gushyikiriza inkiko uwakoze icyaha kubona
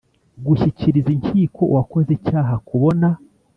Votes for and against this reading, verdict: 2, 0, accepted